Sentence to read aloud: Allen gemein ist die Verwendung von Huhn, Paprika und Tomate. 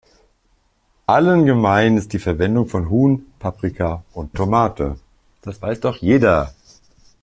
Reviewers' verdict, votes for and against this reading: rejected, 0, 2